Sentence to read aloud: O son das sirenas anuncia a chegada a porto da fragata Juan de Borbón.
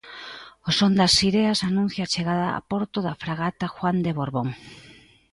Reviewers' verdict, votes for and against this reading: rejected, 0, 2